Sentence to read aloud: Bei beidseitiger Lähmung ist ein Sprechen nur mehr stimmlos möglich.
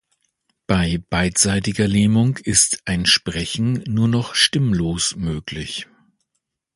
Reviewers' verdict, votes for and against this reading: rejected, 0, 2